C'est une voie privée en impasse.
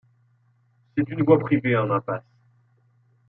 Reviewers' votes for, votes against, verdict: 2, 1, accepted